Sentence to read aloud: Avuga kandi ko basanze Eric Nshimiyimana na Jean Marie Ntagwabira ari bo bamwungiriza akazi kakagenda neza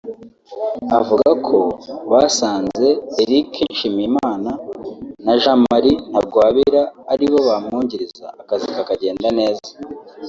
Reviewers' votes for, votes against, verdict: 0, 2, rejected